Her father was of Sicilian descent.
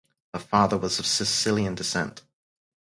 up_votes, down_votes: 2, 2